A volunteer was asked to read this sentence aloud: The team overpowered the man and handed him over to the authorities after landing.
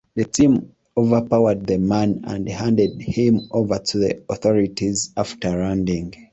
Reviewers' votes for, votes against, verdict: 2, 0, accepted